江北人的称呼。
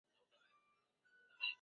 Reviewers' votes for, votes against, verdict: 1, 2, rejected